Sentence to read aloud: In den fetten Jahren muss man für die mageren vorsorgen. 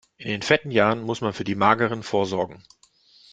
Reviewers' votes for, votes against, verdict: 2, 0, accepted